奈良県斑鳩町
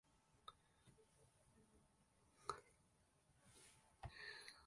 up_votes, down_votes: 0, 2